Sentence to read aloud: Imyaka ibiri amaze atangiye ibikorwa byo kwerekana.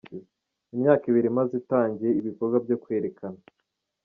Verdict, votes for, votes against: rejected, 1, 2